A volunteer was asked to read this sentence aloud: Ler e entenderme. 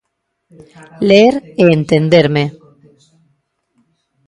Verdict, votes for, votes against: rejected, 0, 2